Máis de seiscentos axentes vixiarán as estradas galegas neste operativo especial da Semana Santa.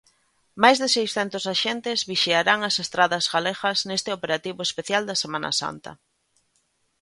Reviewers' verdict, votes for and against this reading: accepted, 2, 0